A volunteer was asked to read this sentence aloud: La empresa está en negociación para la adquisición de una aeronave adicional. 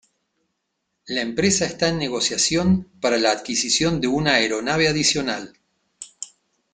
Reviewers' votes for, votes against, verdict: 2, 0, accepted